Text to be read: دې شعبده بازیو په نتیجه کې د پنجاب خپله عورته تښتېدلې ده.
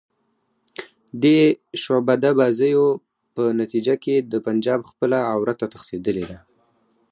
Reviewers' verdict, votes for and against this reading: rejected, 2, 2